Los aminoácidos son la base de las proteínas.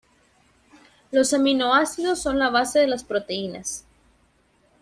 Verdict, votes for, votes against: accepted, 2, 0